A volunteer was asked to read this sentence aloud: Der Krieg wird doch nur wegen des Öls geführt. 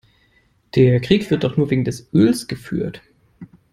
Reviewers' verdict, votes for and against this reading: accepted, 3, 0